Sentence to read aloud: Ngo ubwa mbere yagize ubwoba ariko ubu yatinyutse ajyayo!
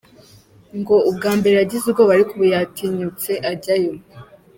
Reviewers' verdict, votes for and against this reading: accepted, 2, 0